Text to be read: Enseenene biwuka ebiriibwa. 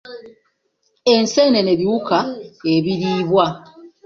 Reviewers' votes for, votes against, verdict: 2, 0, accepted